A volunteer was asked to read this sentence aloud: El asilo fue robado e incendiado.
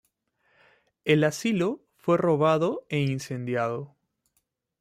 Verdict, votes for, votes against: accepted, 3, 0